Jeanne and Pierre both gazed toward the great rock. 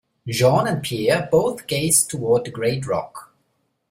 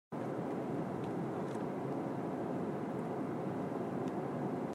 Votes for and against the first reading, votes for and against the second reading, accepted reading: 2, 0, 0, 2, first